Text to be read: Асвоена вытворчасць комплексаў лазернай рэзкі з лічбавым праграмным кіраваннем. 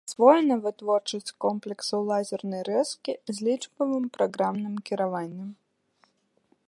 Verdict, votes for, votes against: rejected, 1, 2